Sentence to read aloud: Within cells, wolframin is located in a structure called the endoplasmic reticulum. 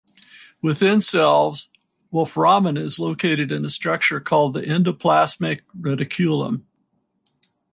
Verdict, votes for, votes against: accepted, 4, 0